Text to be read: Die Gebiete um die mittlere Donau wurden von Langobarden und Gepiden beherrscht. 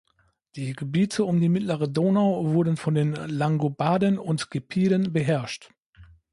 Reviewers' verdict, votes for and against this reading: rejected, 0, 2